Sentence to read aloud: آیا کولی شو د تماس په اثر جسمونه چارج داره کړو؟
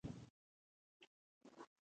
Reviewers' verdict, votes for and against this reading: accepted, 2, 0